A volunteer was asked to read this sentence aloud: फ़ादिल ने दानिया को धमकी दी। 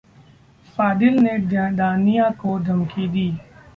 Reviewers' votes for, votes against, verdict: 0, 2, rejected